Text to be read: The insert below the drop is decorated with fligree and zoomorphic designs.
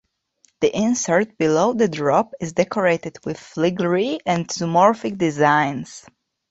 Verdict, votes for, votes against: accepted, 2, 1